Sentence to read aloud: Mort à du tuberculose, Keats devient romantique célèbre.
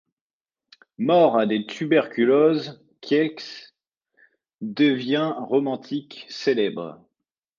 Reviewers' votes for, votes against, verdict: 1, 2, rejected